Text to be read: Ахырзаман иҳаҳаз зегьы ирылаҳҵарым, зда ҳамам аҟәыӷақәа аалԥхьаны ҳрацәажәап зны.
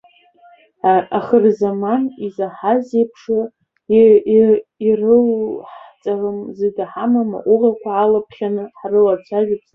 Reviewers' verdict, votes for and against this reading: rejected, 0, 2